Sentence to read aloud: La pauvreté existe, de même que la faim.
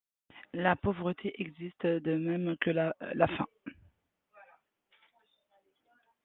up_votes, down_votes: 1, 3